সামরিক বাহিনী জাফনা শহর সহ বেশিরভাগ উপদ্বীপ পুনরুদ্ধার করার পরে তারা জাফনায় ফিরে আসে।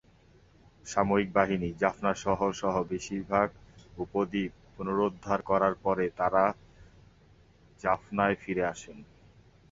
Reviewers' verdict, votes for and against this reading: accepted, 6, 1